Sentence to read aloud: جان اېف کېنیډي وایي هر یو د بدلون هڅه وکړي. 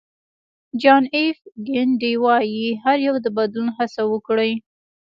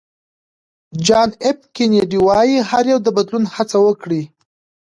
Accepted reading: second